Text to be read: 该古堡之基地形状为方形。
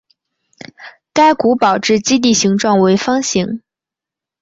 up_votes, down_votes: 2, 0